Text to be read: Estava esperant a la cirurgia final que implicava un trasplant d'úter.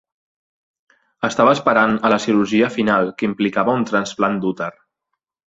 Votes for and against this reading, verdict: 3, 0, accepted